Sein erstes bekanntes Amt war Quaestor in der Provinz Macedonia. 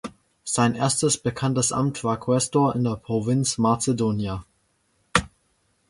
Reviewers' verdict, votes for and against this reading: accepted, 2, 0